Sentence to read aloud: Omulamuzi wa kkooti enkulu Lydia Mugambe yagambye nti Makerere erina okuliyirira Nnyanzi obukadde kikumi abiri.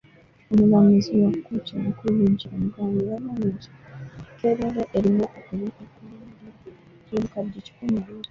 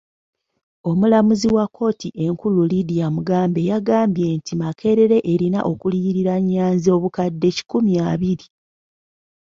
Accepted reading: second